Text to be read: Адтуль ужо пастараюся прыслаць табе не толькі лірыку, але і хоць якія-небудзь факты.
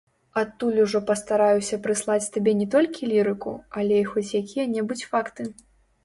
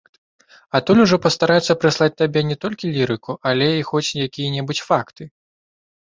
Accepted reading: second